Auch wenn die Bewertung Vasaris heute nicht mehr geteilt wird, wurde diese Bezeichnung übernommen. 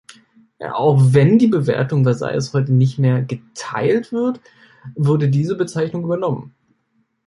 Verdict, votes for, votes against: rejected, 1, 2